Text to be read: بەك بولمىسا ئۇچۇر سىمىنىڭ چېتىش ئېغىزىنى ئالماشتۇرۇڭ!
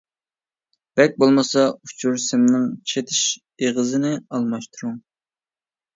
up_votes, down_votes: 2, 0